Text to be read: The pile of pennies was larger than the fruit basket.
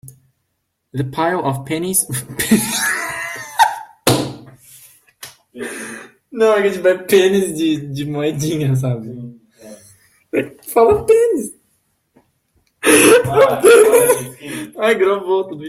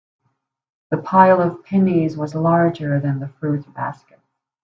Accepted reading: second